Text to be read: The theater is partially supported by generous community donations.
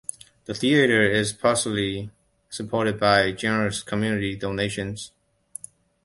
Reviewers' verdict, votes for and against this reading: accepted, 2, 1